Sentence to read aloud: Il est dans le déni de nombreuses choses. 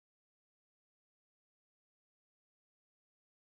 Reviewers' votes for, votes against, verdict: 0, 2, rejected